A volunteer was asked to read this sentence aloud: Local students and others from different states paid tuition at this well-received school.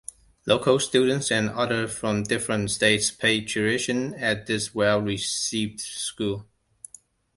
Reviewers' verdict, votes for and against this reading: rejected, 1, 2